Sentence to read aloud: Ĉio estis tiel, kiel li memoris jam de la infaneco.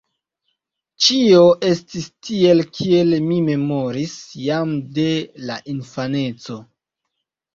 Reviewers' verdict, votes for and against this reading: rejected, 1, 2